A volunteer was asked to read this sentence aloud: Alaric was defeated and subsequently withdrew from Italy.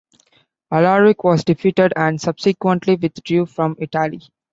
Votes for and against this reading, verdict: 2, 1, accepted